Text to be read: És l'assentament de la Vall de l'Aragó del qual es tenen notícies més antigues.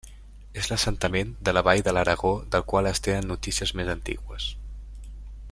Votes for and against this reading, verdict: 0, 2, rejected